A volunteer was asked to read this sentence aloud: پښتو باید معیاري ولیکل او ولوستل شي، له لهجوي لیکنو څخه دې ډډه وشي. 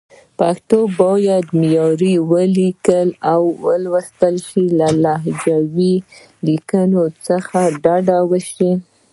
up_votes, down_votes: 1, 2